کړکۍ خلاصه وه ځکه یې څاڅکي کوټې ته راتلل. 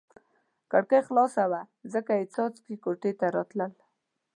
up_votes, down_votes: 3, 0